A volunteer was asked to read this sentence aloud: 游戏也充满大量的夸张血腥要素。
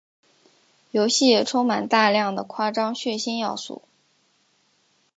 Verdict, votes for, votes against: accepted, 2, 0